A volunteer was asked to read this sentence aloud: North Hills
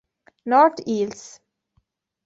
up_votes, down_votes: 0, 2